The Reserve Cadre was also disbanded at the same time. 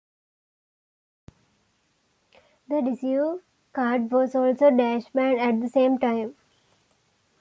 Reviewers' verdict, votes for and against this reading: rejected, 1, 2